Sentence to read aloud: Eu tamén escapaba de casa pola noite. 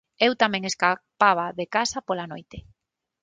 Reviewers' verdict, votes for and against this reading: rejected, 3, 6